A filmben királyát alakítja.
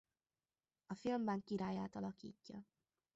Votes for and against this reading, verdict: 0, 2, rejected